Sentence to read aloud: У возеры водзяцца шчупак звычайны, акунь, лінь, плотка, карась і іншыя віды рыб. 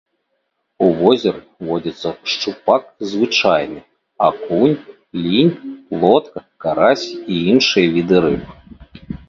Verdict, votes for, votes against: accepted, 3, 0